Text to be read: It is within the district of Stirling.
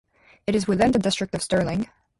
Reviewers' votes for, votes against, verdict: 2, 0, accepted